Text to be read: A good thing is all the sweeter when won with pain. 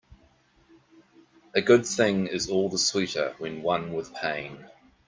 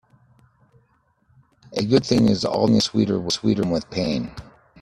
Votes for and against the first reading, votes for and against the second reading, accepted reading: 2, 0, 0, 2, first